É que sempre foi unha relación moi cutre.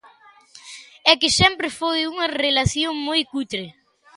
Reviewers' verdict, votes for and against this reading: accepted, 2, 0